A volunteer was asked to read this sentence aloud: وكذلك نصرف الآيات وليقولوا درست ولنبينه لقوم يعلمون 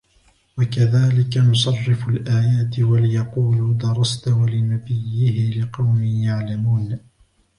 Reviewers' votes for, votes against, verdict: 0, 2, rejected